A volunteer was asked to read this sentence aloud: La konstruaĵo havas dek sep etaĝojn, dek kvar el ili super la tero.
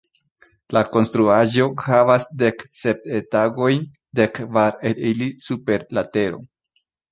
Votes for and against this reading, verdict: 0, 2, rejected